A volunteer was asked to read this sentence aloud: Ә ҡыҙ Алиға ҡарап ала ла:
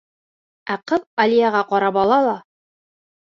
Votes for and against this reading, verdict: 1, 2, rejected